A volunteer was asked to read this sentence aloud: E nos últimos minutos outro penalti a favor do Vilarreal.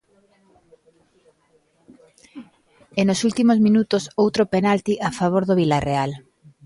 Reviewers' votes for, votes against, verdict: 3, 0, accepted